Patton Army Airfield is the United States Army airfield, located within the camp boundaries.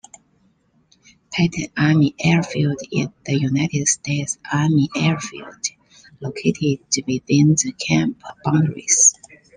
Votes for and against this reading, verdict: 1, 2, rejected